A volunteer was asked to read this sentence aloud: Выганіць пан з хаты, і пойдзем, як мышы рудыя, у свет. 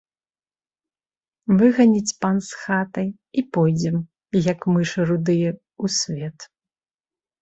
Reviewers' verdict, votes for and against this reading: accepted, 2, 0